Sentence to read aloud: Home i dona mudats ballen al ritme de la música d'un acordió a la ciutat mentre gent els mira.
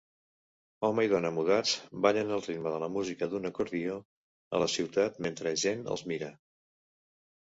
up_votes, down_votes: 2, 0